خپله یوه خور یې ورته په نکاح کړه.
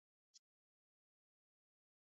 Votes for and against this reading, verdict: 2, 0, accepted